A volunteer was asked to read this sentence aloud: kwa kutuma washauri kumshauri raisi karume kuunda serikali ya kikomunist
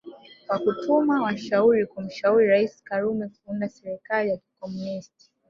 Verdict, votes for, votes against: rejected, 1, 2